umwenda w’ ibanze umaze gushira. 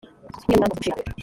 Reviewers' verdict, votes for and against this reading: rejected, 1, 2